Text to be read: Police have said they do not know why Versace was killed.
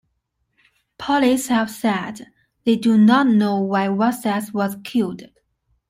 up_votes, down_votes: 0, 2